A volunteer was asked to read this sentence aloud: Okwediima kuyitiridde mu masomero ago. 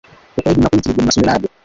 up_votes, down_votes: 0, 2